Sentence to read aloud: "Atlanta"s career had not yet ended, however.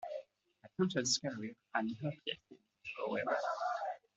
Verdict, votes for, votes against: rejected, 0, 2